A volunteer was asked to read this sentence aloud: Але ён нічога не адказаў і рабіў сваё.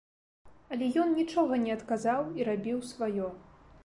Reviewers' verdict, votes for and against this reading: accepted, 2, 0